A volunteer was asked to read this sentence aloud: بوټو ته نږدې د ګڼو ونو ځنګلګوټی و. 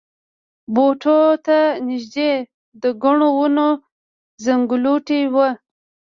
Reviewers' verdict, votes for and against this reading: rejected, 0, 2